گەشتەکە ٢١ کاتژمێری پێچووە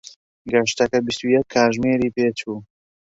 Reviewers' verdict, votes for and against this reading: rejected, 0, 2